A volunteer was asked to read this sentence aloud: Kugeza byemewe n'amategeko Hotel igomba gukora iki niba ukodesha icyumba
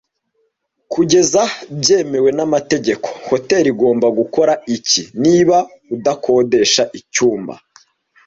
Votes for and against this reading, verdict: 0, 2, rejected